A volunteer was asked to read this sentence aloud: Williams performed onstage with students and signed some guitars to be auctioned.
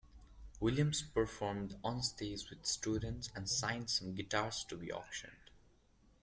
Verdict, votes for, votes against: rejected, 1, 2